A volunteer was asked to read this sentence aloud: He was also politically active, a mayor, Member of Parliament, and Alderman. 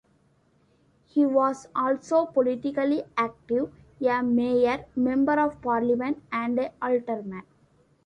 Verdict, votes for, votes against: rejected, 1, 2